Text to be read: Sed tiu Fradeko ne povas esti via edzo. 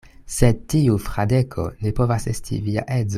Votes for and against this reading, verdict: 1, 2, rejected